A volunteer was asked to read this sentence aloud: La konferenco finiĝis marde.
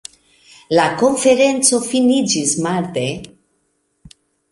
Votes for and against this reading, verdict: 2, 0, accepted